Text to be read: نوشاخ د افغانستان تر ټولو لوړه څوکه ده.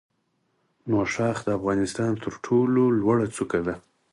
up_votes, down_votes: 4, 0